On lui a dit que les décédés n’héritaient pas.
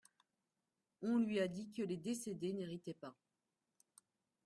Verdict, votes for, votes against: accepted, 2, 0